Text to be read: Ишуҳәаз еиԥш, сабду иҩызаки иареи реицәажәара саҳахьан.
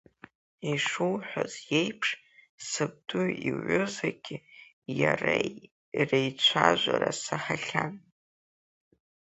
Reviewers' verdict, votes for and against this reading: accepted, 3, 0